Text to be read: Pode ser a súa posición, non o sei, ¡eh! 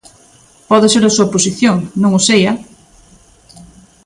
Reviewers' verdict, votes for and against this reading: accepted, 3, 0